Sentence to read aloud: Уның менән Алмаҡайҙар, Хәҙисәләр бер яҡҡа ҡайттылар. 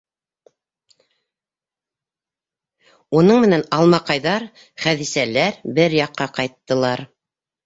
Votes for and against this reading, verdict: 2, 0, accepted